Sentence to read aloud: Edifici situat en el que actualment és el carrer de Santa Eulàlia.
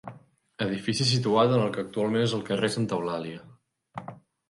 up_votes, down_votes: 1, 2